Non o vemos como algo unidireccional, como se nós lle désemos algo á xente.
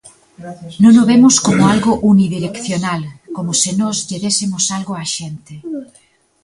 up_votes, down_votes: 1, 2